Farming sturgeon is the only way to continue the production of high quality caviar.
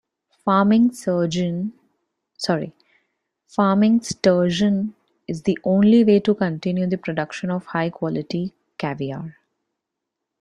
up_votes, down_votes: 0, 2